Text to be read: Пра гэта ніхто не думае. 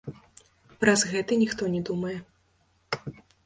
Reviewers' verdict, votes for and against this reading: rejected, 0, 2